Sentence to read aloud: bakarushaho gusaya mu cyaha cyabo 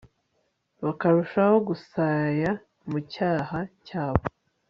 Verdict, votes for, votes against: accepted, 3, 0